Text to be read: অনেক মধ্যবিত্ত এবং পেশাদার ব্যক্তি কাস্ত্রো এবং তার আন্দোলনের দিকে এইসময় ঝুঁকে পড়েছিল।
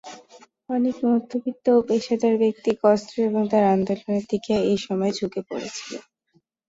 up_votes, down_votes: 0, 2